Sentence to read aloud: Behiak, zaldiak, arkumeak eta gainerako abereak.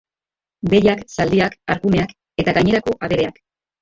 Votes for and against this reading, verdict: 2, 0, accepted